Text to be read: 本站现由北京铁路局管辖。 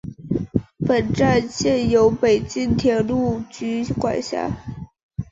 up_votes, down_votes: 2, 0